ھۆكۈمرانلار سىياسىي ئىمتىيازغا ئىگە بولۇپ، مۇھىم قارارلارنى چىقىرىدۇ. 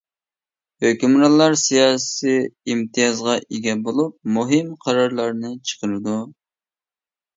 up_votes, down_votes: 2, 0